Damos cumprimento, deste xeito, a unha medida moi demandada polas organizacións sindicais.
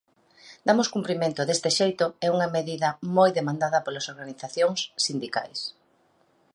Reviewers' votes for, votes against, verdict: 0, 2, rejected